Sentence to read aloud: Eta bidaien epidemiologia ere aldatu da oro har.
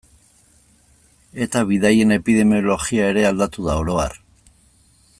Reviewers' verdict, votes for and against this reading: rejected, 1, 2